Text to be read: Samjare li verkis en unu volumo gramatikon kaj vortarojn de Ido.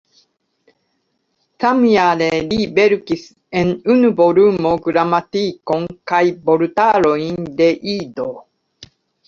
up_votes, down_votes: 2, 0